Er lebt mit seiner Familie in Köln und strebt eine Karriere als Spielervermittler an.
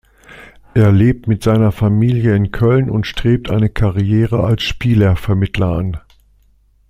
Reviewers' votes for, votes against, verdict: 2, 0, accepted